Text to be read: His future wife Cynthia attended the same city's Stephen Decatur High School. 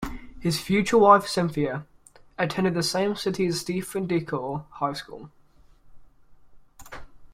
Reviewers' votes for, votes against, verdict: 1, 2, rejected